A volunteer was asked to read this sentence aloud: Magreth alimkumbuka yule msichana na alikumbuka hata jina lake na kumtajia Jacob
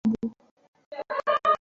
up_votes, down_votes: 0, 2